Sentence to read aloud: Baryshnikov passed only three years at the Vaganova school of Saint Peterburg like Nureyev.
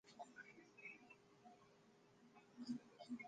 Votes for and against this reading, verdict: 0, 2, rejected